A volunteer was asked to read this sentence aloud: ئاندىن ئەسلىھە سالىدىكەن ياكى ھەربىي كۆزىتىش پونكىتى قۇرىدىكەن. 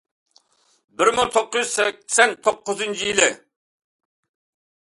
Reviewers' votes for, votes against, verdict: 0, 2, rejected